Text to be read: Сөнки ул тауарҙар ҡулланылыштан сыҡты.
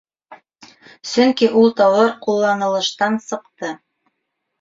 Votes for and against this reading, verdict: 2, 3, rejected